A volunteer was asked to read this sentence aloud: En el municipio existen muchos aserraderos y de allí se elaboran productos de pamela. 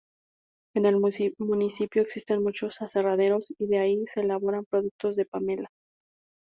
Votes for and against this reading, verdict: 2, 0, accepted